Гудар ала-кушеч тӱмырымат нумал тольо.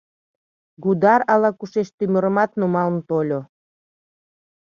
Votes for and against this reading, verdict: 1, 2, rejected